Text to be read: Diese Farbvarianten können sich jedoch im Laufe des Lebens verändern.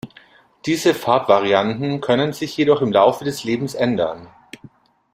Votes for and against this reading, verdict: 0, 2, rejected